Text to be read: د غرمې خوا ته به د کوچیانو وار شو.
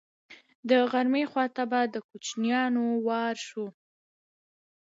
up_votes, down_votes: 0, 2